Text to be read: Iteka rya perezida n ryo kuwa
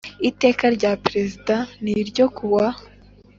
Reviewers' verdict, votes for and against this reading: accepted, 2, 0